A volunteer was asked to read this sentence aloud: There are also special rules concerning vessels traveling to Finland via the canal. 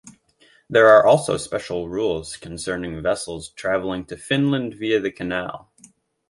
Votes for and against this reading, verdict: 2, 0, accepted